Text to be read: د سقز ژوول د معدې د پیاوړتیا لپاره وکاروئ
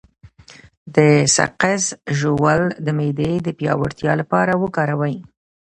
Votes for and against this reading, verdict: 1, 2, rejected